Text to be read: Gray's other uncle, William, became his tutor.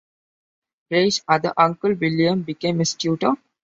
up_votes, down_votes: 2, 1